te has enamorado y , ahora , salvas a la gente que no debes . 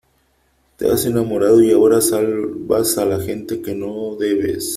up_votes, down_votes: 2, 3